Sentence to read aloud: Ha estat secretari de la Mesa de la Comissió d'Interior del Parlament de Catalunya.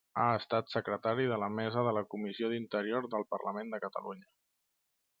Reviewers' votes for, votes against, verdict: 1, 2, rejected